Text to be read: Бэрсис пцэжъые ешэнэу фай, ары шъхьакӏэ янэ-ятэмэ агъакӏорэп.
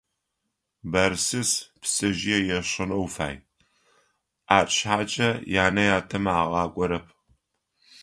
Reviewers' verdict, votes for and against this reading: accepted, 2, 0